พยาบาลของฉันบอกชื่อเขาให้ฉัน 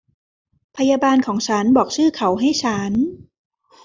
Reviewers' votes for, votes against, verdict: 2, 0, accepted